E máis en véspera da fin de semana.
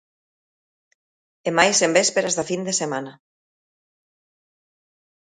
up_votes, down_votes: 1, 2